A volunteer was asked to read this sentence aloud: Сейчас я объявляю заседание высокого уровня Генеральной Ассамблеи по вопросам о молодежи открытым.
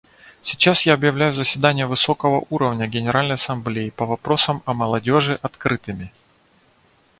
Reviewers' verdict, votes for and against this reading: rejected, 0, 2